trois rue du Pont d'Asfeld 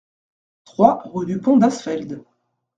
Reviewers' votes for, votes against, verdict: 2, 0, accepted